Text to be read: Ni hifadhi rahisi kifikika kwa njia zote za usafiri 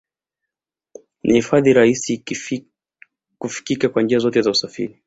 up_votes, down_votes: 0, 2